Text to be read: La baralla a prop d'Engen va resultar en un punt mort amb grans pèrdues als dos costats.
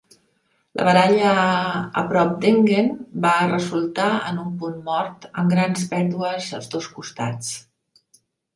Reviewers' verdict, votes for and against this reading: rejected, 1, 2